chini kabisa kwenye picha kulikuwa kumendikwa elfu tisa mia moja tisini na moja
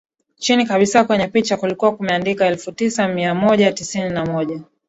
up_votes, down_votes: 10, 3